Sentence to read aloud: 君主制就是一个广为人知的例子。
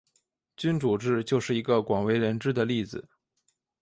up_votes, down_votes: 3, 1